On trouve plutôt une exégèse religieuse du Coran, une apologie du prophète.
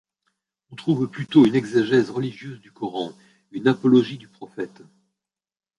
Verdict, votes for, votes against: rejected, 0, 2